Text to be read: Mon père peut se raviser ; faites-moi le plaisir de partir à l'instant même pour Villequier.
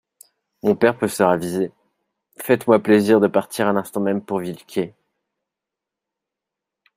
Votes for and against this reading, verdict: 0, 2, rejected